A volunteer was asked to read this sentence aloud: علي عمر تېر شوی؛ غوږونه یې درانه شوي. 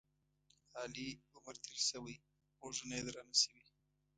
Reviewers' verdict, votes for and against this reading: rejected, 0, 2